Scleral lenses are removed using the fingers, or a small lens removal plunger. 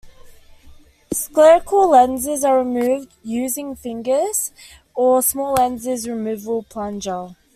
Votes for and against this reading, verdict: 0, 2, rejected